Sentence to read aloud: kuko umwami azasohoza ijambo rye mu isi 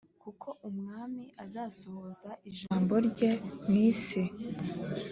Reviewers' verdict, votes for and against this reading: accepted, 2, 0